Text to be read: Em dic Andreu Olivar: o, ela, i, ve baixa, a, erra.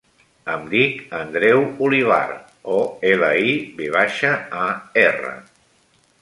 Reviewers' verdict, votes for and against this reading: accepted, 3, 0